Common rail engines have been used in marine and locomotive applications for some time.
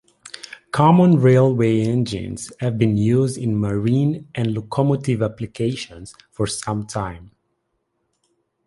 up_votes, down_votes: 1, 2